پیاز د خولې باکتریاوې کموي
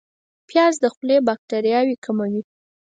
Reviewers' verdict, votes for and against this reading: accepted, 4, 0